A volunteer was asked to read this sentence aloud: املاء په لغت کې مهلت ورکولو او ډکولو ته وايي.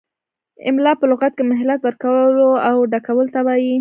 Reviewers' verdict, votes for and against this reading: accepted, 2, 0